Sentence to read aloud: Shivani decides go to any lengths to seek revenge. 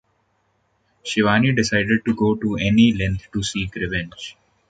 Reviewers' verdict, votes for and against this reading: rejected, 0, 2